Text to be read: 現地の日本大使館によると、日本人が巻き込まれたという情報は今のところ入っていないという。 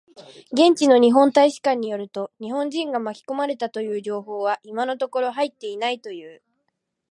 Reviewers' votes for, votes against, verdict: 2, 1, accepted